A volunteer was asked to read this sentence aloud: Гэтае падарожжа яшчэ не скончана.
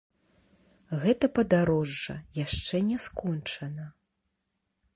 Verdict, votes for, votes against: rejected, 0, 2